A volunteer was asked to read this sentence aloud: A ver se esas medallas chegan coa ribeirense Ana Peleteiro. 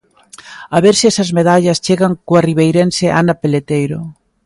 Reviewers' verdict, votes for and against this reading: accepted, 2, 0